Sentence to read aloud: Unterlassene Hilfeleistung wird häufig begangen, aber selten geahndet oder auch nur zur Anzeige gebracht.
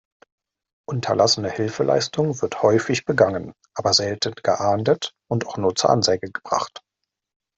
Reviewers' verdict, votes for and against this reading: rejected, 0, 2